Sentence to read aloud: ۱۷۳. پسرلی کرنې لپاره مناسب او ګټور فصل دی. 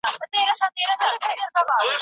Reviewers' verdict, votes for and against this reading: rejected, 0, 2